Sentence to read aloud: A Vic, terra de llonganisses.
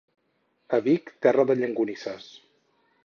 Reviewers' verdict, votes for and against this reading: rejected, 2, 4